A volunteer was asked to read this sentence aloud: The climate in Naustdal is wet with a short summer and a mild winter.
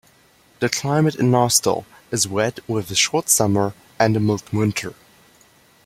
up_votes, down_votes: 2, 0